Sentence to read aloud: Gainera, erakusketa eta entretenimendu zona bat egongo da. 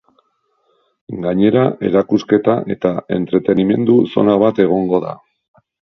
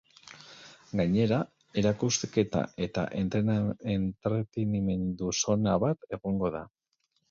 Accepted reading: first